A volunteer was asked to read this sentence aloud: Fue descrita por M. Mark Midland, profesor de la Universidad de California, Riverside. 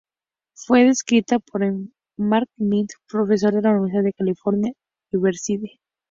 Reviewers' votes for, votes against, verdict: 2, 0, accepted